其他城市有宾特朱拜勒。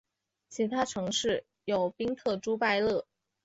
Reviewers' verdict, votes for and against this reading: accepted, 3, 0